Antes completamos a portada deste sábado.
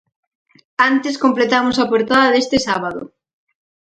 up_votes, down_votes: 4, 0